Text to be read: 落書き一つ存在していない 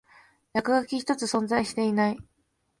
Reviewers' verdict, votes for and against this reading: accepted, 2, 0